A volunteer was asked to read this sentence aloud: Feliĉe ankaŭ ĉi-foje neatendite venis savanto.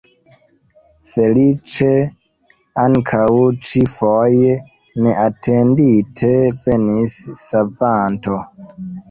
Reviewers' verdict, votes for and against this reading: accepted, 2, 1